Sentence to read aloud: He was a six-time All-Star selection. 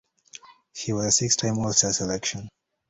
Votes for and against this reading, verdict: 0, 2, rejected